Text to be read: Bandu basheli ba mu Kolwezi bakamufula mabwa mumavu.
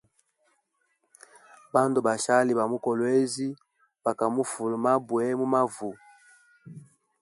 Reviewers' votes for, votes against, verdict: 1, 2, rejected